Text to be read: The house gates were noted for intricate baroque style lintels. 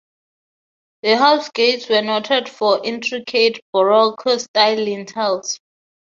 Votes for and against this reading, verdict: 6, 3, accepted